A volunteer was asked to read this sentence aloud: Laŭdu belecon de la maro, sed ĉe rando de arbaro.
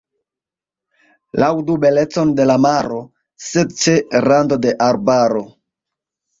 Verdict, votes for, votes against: accepted, 3, 1